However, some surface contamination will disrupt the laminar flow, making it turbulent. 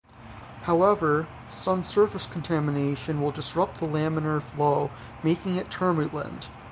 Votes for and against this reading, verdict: 3, 3, rejected